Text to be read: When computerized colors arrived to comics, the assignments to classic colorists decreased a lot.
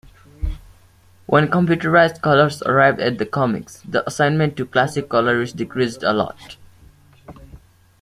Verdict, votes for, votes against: rejected, 0, 2